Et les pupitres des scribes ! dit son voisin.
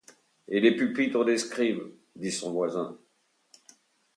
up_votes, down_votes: 2, 0